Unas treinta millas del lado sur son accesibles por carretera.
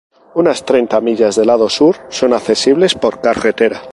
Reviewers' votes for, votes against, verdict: 0, 2, rejected